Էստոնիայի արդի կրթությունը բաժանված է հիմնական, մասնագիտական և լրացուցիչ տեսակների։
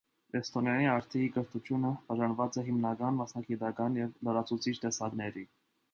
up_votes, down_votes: 1, 2